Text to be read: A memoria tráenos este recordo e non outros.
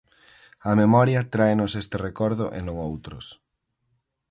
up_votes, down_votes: 4, 2